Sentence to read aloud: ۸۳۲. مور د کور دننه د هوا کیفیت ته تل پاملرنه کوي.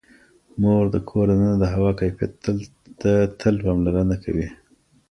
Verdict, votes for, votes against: rejected, 0, 2